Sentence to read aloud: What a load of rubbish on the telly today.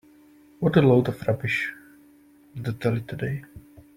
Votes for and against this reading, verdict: 1, 2, rejected